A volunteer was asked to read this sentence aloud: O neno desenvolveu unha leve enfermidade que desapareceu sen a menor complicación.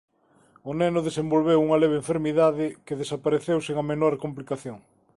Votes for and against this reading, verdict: 2, 0, accepted